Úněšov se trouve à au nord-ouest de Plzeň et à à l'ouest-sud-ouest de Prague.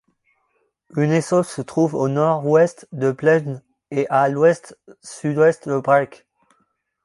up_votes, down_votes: 0, 2